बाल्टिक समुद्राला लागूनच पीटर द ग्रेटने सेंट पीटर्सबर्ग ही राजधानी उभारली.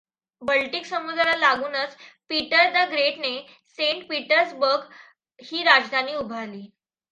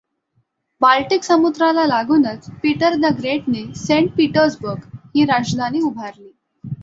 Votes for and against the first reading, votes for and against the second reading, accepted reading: 0, 2, 2, 0, second